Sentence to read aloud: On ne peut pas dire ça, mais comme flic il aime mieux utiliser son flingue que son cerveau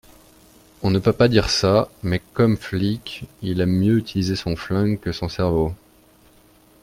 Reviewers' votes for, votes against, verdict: 2, 0, accepted